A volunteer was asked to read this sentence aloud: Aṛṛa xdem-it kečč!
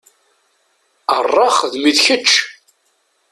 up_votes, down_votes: 2, 0